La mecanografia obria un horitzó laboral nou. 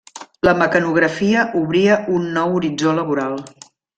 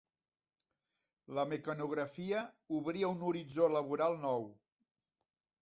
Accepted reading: second